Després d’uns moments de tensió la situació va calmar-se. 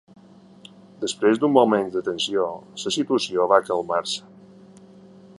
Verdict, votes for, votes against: rejected, 1, 2